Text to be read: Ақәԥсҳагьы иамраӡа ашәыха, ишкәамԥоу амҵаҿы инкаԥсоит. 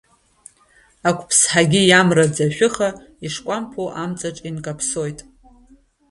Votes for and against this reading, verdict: 2, 0, accepted